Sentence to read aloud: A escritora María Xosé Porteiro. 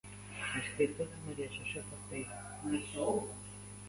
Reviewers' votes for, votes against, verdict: 0, 2, rejected